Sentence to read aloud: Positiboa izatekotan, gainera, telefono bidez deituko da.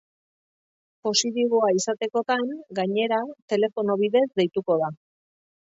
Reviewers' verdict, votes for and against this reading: accepted, 2, 0